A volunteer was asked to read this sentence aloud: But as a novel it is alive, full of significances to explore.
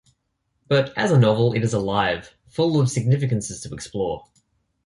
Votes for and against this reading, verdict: 2, 0, accepted